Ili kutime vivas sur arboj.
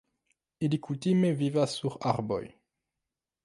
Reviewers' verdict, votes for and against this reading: rejected, 1, 2